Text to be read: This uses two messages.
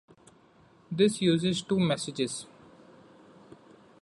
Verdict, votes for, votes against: accepted, 2, 0